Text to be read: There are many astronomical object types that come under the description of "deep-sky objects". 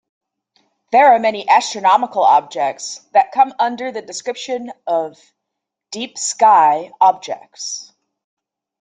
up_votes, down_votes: 1, 2